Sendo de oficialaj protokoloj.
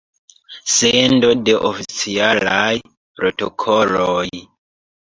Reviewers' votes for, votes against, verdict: 2, 0, accepted